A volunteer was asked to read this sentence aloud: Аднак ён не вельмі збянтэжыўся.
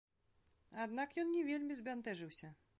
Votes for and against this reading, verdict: 2, 0, accepted